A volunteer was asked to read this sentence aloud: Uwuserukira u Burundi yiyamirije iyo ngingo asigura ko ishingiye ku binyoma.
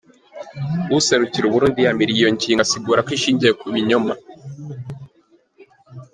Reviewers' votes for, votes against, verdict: 2, 1, accepted